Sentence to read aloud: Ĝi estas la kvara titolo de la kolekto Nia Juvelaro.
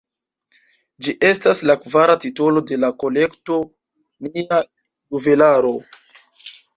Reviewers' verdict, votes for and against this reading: rejected, 0, 2